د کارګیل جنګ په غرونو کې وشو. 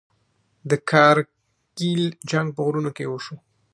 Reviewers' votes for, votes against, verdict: 1, 2, rejected